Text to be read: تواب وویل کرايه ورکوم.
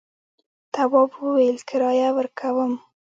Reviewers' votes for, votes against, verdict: 0, 2, rejected